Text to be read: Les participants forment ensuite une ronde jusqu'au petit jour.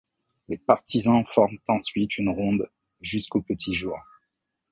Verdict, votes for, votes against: rejected, 0, 2